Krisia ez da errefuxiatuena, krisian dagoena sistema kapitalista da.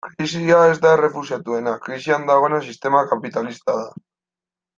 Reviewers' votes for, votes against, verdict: 2, 0, accepted